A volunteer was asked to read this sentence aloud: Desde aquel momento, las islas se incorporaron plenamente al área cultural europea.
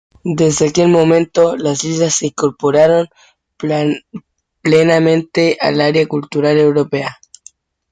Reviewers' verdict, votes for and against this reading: rejected, 0, 2